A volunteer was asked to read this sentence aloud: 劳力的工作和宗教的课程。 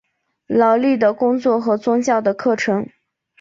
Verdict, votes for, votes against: accepted, 4, 0